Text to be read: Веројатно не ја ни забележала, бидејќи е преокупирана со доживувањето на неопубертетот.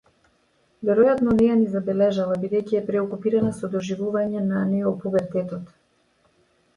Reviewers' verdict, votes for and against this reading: rejected, 0, 2